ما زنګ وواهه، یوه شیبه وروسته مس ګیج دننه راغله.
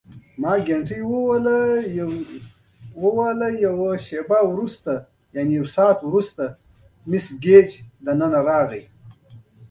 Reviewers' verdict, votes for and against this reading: rejected, 0, 3